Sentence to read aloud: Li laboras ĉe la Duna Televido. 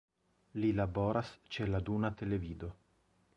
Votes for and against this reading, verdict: 1, 2, rejected